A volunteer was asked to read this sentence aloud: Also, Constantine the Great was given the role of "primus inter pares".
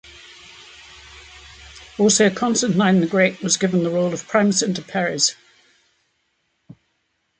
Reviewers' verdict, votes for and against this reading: rejected, 1, 2